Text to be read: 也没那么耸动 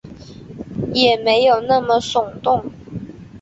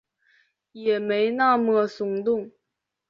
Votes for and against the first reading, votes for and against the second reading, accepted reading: 3, 0, 1, 2, first